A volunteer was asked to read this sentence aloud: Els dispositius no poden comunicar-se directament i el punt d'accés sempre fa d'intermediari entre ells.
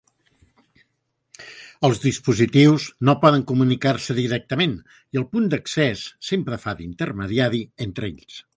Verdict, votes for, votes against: accepted, 2, 0